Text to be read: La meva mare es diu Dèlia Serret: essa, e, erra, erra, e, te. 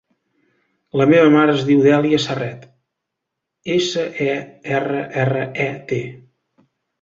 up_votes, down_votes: 2, 0